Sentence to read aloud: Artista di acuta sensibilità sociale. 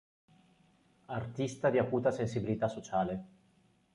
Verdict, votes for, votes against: accepted, 3, 0